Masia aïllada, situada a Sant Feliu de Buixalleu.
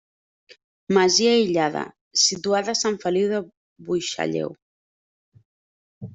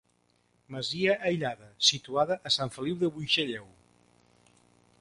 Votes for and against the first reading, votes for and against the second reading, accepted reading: 1, 2, 3, 0, second